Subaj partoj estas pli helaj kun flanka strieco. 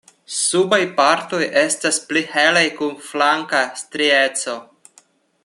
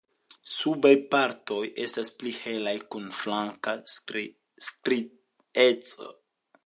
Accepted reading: first